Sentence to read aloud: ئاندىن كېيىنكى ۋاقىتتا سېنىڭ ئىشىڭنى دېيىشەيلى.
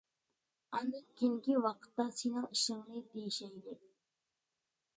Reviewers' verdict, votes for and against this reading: accepted, 2, 0